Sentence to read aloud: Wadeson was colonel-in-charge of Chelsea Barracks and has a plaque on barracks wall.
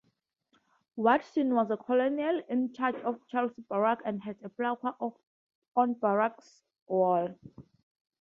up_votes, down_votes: 2, 2